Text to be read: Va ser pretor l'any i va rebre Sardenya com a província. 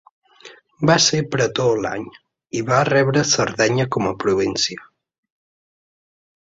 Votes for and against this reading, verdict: 2, 0, accepted